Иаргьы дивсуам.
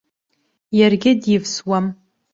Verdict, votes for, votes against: accepted, 2, 0